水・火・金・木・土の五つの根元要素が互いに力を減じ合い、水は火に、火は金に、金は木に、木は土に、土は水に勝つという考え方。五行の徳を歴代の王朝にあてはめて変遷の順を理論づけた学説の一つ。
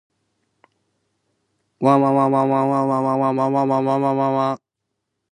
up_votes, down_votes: 0, 2